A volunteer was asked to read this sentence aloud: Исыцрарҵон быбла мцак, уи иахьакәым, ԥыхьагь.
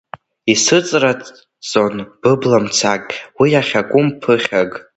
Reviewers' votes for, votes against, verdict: 0, 2, rejected